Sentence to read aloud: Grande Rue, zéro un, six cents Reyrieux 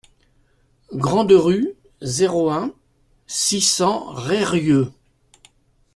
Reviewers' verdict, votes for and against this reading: accepted, 2, 0